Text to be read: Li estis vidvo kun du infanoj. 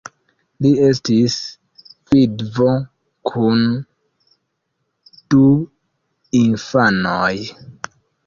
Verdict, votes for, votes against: rejected, 1, 2